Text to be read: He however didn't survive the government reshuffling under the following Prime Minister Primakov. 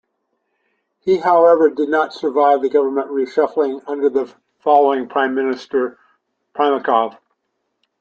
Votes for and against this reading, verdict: 0, 2, rejected